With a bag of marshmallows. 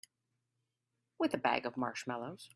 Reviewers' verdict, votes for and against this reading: accepted, 3, 0